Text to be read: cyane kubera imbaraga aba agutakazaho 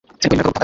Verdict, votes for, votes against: rejected, 1, 2